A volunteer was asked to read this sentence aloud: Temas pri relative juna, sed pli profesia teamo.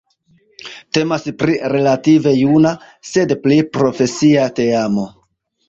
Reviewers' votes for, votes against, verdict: 2, 0, accepted